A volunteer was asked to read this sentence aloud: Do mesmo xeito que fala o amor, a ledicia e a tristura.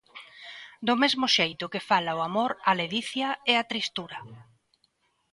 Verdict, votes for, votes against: accepted, 2, 0